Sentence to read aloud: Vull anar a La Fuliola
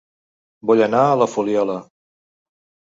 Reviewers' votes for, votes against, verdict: 2, 0, accepted